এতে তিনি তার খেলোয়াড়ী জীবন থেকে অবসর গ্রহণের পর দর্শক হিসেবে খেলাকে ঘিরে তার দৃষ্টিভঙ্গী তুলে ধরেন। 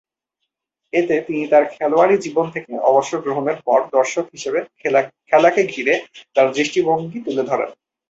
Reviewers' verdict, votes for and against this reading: accepted, 2, 0